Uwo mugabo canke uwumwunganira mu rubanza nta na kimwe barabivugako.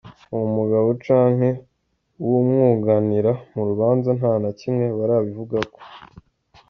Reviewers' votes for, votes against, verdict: 1, 2, rejected